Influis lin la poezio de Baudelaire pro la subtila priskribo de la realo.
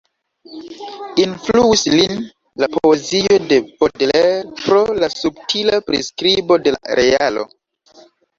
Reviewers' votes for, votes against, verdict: 2, 1, accepted